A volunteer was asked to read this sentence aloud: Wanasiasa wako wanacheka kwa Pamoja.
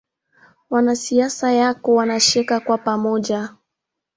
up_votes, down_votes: 2, 0